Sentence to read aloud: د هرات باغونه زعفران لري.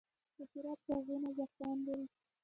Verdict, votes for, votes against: rejected, 1, 2